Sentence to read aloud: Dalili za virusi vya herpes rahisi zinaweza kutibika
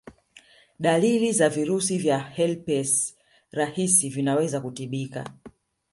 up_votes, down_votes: 1, 2